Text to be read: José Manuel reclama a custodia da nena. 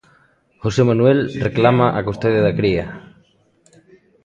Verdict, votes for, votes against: rejected, 0, 2